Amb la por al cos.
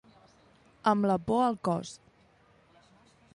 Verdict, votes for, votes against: accepted, 2, 0